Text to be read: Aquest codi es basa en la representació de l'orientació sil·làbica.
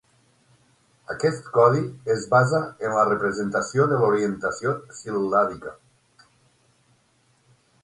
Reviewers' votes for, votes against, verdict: 9, 0, accepted